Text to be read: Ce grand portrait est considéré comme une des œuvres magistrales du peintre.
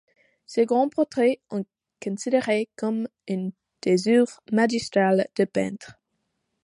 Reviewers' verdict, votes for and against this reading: rejected, 0, 2